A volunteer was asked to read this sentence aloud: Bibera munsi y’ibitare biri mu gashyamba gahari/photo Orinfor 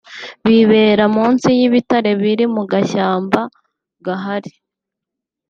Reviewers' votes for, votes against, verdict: 1, 2, rejected